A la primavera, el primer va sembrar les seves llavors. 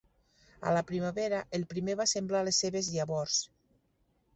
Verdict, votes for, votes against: accepted, 2, 0